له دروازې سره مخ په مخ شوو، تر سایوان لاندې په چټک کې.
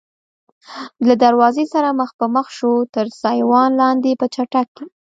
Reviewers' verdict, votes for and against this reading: accepted, 2, 0